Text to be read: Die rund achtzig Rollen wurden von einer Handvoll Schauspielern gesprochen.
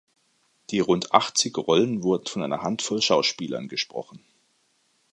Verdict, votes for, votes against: accepted, 2, 0